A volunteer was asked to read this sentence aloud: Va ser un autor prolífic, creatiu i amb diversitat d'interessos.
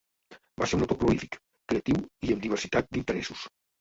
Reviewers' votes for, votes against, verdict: 0, 2, rejected